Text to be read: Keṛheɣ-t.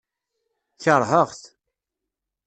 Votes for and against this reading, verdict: 2, 0, accepted